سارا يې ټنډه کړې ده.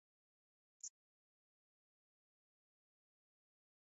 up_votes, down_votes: 0, 2